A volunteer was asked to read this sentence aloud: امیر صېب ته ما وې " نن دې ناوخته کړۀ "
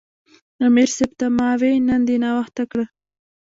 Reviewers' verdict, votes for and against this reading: rejected, 1, 2